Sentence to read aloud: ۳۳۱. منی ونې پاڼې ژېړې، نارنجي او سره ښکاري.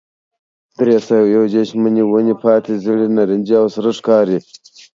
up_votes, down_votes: 0, 2